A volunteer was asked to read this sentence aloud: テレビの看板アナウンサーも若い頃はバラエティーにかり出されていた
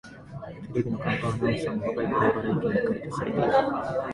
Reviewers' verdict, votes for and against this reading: rejected, 1, 2